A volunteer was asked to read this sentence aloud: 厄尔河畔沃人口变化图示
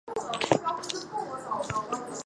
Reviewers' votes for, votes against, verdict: 1, 3, rejected